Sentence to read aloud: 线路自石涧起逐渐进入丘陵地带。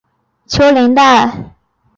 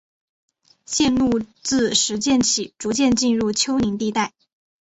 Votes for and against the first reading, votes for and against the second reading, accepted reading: 0, 3, 2, 0, second